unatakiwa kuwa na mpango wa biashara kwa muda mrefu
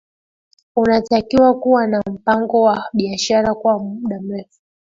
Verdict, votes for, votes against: accepted, 2, 1